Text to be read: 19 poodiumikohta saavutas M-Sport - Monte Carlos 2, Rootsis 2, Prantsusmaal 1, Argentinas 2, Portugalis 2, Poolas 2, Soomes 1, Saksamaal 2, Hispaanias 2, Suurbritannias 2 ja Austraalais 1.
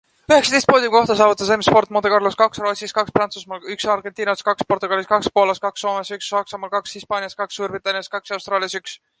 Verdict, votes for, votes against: rejected, 0, 2